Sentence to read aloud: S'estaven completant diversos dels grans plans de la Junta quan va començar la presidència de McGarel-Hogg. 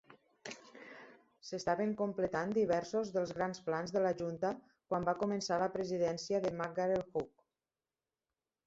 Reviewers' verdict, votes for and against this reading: accepted, 3, 1